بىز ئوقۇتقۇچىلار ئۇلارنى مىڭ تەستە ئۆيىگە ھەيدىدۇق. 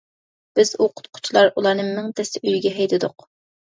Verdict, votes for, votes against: accepted, 2, 0